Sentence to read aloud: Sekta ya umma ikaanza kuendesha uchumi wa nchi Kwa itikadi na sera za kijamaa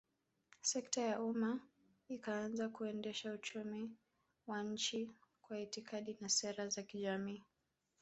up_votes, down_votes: 1, 2